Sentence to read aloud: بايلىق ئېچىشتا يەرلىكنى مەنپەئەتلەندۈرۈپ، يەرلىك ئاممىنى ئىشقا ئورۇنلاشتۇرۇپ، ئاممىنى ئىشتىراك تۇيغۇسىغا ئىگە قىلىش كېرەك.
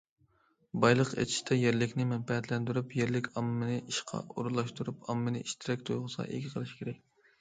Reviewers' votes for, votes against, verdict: 2, 0, accepted